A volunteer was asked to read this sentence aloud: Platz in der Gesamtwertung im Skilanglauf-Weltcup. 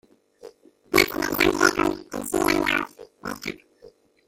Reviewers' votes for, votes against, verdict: 0, 2, rejected